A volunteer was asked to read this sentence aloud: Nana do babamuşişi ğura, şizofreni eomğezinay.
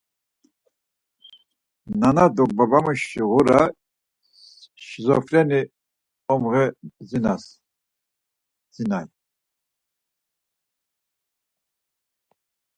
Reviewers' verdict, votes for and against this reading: rejected, 0, 4